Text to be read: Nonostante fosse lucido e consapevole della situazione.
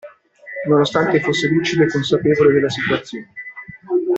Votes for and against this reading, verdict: 1, 2, rejected